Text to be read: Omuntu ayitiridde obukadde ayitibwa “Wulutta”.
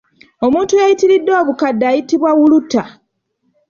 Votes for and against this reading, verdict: 0, 2, rejected